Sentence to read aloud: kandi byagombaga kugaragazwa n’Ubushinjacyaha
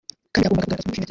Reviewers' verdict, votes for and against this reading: rejected, 0, 2